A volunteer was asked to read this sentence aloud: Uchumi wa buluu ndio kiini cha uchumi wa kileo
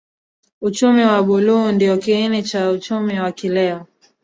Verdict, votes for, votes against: rejected, 1, 2